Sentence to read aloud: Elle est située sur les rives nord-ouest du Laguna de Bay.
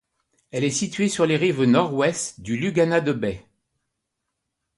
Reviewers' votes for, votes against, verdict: 1, 2, rejected